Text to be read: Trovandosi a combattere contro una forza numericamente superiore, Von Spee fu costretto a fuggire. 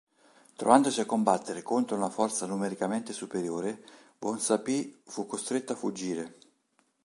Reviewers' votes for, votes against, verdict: 0, 2, rejected